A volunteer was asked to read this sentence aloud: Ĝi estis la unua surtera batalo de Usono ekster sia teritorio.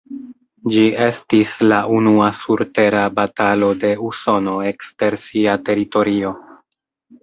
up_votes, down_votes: 3, 0